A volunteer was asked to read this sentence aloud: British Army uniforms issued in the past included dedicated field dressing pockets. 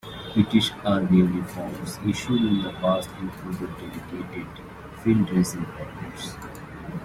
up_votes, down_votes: 2, 0